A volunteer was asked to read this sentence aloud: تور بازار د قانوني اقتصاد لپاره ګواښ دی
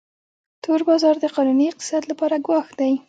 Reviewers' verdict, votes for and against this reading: accepted, 2, 0